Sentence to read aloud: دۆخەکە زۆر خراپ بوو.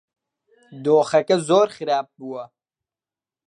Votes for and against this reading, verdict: 0, 2, rejected